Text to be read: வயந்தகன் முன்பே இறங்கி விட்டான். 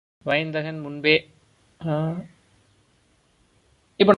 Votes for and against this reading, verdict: 0, 2, rejected